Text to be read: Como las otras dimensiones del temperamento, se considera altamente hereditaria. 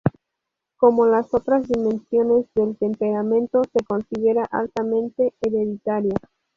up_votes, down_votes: 2, 0